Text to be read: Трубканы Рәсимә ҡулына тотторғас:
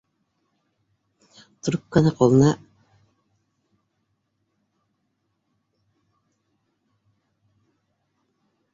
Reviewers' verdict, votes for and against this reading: rejected, 0, 3